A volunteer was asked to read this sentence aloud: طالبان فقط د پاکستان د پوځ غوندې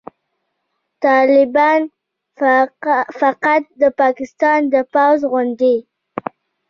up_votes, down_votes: 2, 0